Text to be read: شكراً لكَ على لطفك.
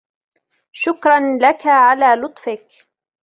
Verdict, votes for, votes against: accepted, 2, 0